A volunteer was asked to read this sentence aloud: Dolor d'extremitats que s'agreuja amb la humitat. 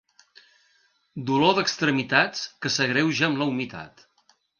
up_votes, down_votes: 2, 0